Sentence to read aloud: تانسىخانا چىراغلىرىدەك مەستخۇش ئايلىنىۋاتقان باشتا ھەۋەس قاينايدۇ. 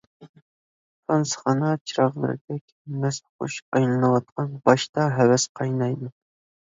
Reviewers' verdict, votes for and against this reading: rejected, 1, 2